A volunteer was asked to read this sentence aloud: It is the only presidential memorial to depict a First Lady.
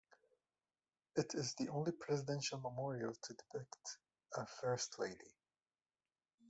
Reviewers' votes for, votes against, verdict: 2, 0, accepted